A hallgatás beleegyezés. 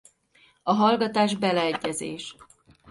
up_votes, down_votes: 2, 0